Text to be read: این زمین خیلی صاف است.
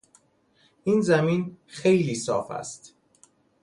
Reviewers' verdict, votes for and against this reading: accepted, 2, 0